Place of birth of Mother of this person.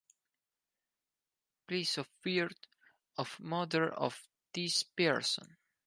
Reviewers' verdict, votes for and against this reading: accepted, 4, 2